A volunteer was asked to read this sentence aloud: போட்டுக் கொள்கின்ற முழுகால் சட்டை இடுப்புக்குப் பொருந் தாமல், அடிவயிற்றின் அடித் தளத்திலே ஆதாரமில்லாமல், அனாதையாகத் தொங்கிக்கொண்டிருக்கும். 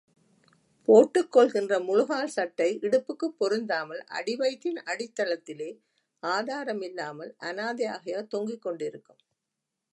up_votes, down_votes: 1, 3